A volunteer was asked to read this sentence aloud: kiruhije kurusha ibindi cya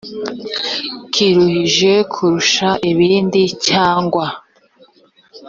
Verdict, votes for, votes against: rejected, 1, 2